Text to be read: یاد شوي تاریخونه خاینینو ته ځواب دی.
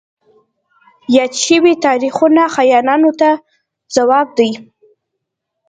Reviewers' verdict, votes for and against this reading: accepted, 2, 1